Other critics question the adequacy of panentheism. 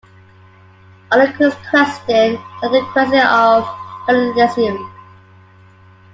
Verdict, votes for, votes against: rejected, 0, 2